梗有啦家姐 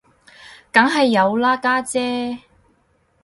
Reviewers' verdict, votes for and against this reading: rejected, 2, 2